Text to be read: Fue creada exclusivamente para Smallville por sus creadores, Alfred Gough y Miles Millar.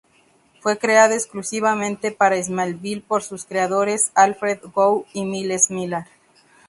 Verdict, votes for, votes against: rejected, 0, 2